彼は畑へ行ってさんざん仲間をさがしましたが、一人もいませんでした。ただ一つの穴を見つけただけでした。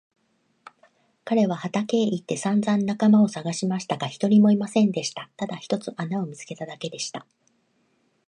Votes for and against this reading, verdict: 1, 2, rejected